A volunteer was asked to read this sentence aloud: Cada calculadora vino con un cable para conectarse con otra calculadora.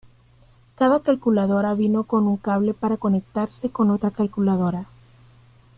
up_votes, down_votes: 2, 0